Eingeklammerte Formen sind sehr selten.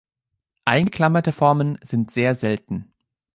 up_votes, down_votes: 0, 3